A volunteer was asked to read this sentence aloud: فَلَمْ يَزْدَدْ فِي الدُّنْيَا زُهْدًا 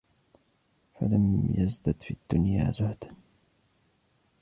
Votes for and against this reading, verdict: 0, 2, rejected